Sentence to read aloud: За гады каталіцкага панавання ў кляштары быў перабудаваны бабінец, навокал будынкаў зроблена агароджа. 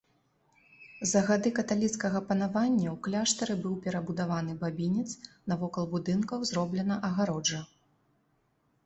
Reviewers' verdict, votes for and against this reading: accepted, 2, 1